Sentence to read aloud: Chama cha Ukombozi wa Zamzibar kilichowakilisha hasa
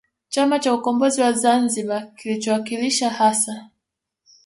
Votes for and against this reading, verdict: 2, 0, accepted